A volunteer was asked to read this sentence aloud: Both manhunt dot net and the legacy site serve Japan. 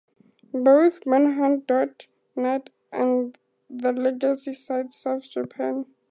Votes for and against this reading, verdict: 4, 2, accepted